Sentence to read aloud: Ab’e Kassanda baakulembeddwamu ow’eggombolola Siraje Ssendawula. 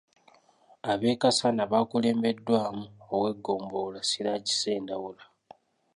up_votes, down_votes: 2, 1